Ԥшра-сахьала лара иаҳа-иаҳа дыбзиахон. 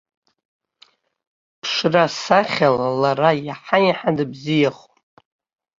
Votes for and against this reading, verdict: 0, 2, rejected